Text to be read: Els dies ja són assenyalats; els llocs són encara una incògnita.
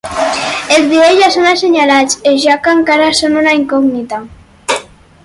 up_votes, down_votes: 2, 4